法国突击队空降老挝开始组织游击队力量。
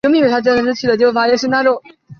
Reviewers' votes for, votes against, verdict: 0, 2, rejected